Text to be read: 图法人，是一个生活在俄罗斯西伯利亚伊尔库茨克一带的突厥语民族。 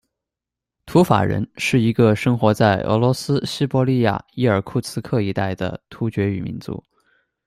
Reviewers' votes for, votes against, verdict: 2, 0, accepted